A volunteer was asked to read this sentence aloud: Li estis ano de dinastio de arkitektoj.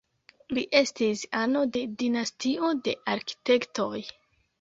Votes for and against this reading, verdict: 1, 2, rejected